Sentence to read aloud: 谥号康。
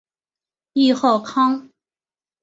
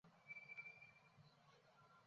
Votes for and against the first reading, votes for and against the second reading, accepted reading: 6, 0, 0, 3, first